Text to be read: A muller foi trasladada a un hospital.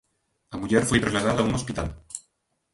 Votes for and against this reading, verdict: 1, 3, rejected